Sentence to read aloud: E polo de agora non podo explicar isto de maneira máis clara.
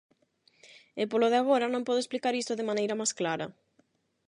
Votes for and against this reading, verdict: 4, 4, rejected